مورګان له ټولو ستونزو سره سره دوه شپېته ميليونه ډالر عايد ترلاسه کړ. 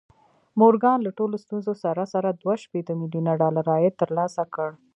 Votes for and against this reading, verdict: 1, 2, rejected